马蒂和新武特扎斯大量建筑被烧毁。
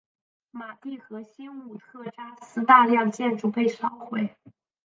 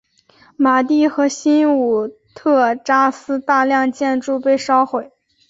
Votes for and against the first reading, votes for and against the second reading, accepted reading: 1, 2, 3, 0, second